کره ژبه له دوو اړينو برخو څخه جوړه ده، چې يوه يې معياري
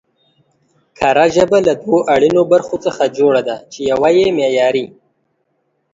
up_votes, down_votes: 2, 0